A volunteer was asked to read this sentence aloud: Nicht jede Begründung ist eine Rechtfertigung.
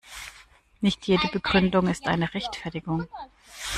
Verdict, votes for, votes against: accepted, 2, 0